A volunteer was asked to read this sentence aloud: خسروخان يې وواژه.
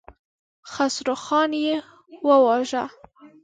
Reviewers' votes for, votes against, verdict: 2, 0, accepted